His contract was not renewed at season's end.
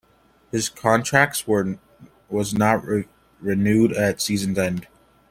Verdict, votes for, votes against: rejected, 1, 2